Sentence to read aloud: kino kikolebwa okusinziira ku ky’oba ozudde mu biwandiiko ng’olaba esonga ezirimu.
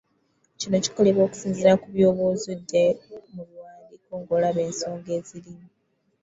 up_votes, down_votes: 0, 2